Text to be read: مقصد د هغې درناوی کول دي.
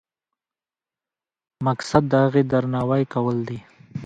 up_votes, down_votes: 0, 2